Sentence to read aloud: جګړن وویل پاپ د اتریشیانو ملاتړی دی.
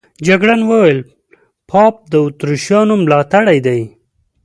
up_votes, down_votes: 2, 0